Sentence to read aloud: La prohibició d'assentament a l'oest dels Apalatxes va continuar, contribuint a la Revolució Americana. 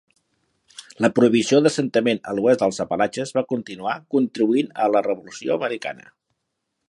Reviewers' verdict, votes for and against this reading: accepted, 2, 0